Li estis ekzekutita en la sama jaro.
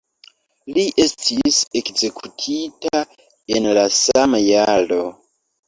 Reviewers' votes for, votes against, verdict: 2, 0, accepted